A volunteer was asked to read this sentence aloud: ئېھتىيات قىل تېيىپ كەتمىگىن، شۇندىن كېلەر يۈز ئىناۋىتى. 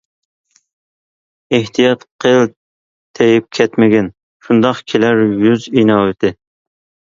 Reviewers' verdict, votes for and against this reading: rejected, 0, 2